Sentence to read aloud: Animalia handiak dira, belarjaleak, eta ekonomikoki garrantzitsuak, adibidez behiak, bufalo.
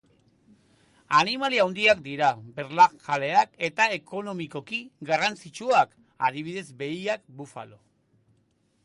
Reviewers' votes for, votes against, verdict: 0, 2, rejected